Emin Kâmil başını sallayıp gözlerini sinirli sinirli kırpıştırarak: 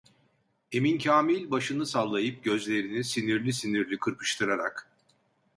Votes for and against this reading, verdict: 2, 0, accepted